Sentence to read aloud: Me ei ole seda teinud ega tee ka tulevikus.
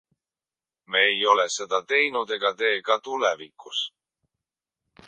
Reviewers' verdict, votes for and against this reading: accepted, 2, 0